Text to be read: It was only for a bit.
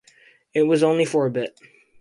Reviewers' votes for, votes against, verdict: 4, 0, accepted